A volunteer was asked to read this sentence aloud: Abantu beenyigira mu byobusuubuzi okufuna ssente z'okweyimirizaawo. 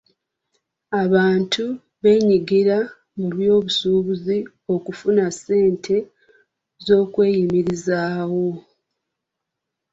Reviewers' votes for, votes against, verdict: 2, 0, accepted